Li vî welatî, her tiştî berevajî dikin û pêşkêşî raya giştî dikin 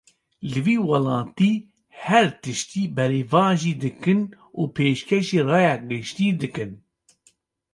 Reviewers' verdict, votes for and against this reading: accepted, 2, 0